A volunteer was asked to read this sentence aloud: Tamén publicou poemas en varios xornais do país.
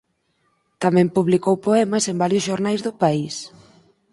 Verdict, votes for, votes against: accepted, 4, 0